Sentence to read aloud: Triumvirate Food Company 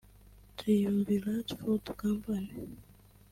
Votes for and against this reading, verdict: 0, 2, rejected